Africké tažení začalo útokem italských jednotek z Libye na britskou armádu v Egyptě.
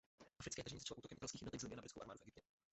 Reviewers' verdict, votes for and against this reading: rejected, 0, 2